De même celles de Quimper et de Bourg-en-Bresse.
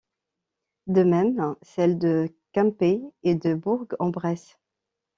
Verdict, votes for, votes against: rejected, 1, 2